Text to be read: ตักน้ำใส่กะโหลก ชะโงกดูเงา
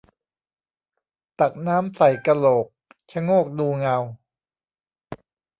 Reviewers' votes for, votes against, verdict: 0, 2, rejected